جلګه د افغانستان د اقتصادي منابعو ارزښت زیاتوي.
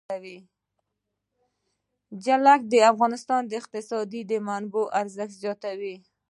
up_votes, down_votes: 0, 2